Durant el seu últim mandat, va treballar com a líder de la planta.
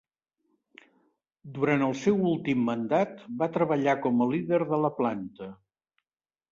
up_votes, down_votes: 4, 0